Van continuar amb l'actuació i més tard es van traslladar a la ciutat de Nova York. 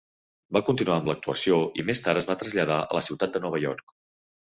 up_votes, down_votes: 0, 2